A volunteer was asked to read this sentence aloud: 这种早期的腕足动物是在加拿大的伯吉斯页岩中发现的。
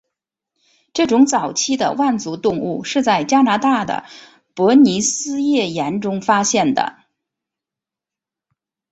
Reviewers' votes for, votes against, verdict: 3, 0, accepted